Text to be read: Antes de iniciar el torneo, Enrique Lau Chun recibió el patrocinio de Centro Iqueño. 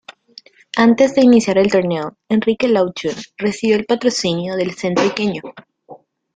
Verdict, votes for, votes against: accepted, 2, 1